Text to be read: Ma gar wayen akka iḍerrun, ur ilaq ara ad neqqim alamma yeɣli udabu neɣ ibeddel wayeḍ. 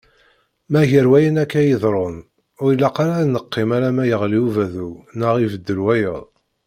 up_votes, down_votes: 1, 2